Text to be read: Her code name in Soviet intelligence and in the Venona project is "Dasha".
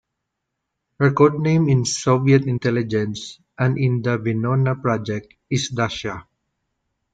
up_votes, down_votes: 2, 0